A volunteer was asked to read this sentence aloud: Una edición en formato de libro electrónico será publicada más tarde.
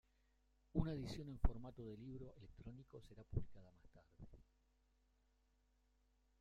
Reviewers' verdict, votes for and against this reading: rejected, 0, 2